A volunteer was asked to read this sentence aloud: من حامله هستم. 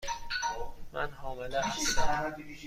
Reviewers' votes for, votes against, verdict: 2, 0, accepted